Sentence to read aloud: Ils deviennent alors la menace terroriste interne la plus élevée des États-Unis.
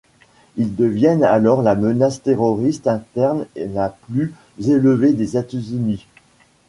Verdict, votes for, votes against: rejected, 0, 2